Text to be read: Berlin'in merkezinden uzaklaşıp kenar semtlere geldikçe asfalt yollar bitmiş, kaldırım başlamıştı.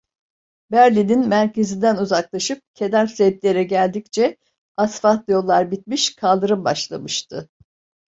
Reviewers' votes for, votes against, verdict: 2, 0, accepted